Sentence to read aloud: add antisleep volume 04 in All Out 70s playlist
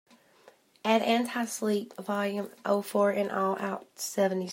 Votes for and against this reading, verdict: 0, 2, rejected